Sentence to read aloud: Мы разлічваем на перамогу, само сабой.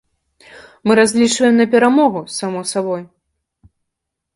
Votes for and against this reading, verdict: 2, 0, accepted